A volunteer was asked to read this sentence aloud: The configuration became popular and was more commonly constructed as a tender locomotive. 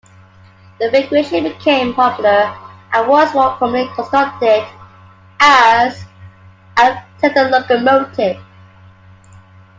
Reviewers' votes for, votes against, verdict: 1, 2, rejected